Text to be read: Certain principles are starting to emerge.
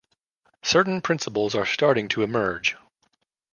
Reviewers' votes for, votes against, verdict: 2, 0, accepted